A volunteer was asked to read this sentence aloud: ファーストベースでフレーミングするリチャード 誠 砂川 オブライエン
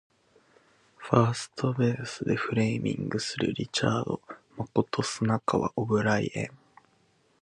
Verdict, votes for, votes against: accepted, 2, 0